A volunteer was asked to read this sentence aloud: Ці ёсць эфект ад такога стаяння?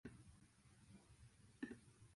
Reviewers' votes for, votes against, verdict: 0, 2, rejected